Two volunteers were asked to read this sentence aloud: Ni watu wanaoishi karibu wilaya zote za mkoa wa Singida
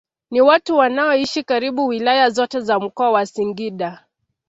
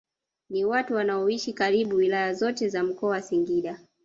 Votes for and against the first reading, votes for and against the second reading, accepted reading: 3, 0, 0, 2, first